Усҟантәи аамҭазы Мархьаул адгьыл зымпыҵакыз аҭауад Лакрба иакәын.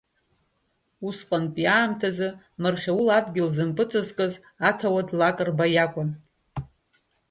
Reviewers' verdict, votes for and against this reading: accepted, 2, 0